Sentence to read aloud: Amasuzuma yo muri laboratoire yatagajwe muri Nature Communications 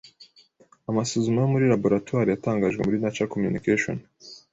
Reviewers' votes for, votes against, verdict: 2, 0, accepted